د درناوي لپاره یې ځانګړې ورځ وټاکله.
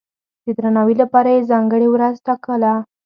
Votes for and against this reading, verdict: 2, 0, accepted